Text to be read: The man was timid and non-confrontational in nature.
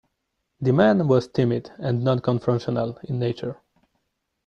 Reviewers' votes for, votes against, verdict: 2, 1, accepted